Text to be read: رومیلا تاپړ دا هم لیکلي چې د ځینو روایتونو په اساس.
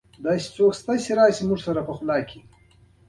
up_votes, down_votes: 1, 2